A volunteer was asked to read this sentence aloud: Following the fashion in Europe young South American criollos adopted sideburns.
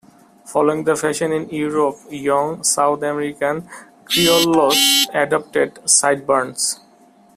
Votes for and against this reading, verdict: 0, 2, rejected